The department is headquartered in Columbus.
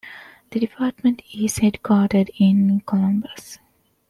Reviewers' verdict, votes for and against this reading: accepted, 2, 0